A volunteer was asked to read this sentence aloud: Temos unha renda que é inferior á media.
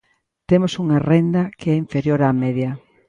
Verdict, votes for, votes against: accepted, 2, 0